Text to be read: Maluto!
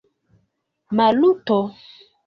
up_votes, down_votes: 2, 1